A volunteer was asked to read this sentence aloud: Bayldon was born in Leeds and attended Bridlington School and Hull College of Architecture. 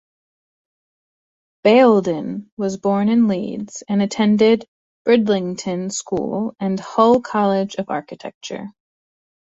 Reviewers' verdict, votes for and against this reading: accepted, 2, 0